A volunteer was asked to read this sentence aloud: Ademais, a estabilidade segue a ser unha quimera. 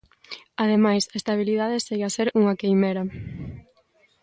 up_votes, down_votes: 1, 2